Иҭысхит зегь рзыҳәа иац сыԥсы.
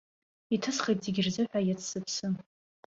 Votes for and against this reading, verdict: 2, 0, accepted